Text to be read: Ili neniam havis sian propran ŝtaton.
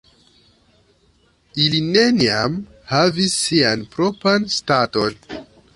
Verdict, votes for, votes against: rejected, 1, 2